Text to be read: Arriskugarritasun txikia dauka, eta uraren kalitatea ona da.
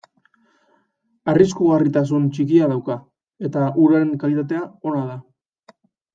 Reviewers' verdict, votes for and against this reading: rejected, 1, 2